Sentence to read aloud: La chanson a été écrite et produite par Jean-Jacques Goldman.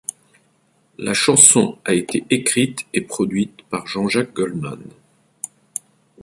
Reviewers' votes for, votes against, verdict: 3, 0, accepted